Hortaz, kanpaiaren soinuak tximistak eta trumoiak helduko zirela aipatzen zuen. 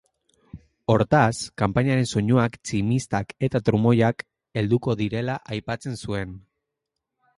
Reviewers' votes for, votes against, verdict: 2, 0, accepted